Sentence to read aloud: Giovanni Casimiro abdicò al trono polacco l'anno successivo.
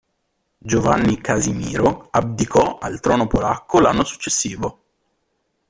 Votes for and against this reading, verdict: 2, 0, accepted